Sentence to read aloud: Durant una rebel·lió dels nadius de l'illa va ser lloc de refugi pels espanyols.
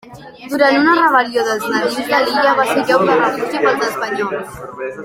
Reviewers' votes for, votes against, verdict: 0, 2, rejected